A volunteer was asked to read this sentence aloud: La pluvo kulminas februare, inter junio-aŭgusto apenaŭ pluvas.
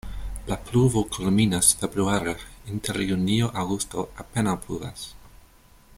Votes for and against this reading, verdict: 2, 1, accepted